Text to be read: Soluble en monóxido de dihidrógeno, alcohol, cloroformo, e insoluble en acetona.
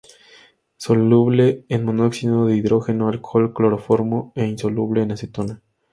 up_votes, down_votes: 2, 0